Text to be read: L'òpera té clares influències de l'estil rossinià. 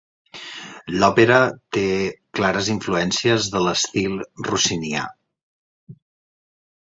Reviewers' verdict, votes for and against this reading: accepted, 2, 0